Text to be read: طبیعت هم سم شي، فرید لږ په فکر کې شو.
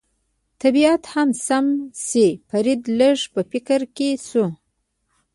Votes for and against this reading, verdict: 2, 0, accepted